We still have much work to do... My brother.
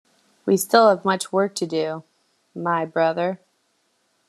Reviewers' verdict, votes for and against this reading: accepted, 2, 0